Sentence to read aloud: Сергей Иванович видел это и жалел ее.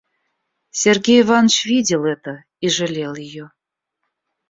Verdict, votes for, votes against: rejected, 0, 2